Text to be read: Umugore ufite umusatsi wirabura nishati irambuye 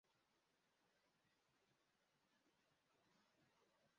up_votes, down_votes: 0, 2